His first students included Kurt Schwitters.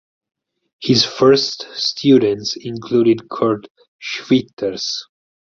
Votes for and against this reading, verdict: 4, 0, accepted